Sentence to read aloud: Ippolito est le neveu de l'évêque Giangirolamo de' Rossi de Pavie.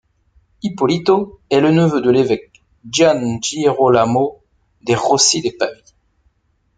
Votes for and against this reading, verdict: 0, 2, rejected